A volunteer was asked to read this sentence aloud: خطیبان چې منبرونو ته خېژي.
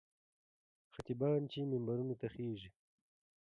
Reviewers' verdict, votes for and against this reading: accepted, 2, 1